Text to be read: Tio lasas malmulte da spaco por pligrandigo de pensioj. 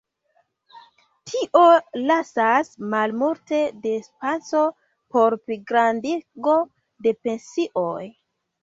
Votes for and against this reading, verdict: 0, 2, rejected